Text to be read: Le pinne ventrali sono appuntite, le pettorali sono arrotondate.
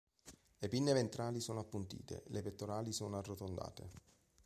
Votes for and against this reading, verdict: 5, 0, accepted